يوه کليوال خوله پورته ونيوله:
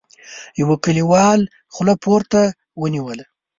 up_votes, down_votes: 2, 0